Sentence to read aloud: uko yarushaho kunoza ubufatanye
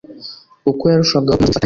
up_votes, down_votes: 0, 2